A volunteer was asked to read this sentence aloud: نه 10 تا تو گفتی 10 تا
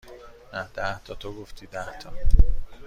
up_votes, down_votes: 0, 2